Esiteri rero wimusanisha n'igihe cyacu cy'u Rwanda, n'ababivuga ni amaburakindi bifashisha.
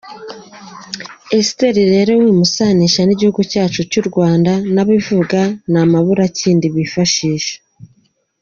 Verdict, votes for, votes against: accepted, 3, 2